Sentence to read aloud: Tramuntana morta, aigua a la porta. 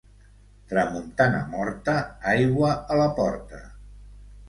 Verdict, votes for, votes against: accepted, 2, 0